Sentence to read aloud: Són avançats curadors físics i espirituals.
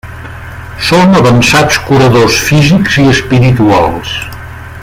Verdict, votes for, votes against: accepted, 2, 1